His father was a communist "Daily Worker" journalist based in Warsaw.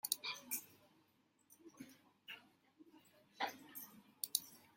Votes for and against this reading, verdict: 0, 2, rejected